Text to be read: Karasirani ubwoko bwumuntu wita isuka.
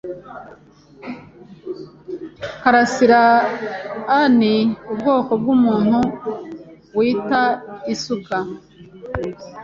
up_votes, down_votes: 2, 0